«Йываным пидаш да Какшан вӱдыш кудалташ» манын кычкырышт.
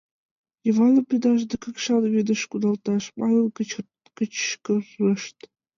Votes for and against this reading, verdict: 0, 2, rejected